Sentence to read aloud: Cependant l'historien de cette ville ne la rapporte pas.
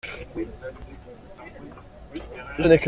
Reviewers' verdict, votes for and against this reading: rejected, 0, 2